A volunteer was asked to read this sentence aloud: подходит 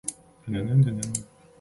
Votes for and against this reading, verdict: 0, 2, rejected